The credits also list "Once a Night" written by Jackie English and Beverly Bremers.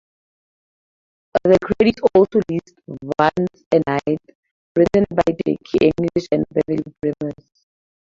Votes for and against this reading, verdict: 0, 2, rejected